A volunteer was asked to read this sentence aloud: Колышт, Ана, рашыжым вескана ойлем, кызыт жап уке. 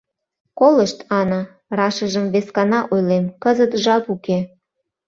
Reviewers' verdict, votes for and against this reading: accepted, 2, 0